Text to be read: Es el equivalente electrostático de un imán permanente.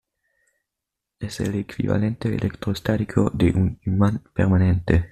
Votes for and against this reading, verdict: 2, 0, accepted